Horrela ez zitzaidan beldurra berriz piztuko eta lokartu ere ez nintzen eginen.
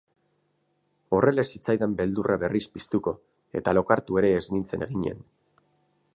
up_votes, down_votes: 2, 2